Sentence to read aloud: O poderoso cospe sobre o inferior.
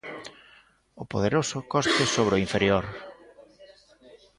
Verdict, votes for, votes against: accepted, 2, 0